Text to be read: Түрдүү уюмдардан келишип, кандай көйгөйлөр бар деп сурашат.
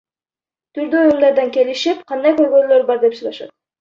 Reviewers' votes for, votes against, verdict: 1, 2, rejected